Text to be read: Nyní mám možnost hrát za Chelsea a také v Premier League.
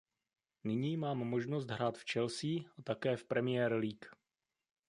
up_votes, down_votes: 2, 1